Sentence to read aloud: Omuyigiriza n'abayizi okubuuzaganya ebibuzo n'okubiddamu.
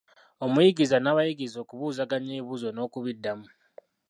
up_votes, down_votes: 0, 2